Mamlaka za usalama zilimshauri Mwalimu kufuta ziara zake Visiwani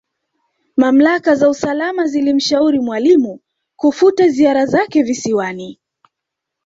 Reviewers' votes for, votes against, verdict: 0, 2, rejected